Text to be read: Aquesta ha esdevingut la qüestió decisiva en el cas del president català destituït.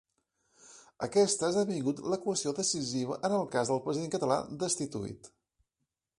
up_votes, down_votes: 2, 0